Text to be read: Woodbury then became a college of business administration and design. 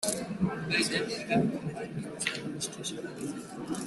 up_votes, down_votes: 0, 3